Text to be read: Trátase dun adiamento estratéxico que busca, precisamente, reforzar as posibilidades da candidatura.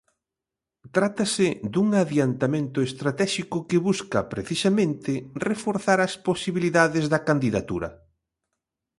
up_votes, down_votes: 0, 2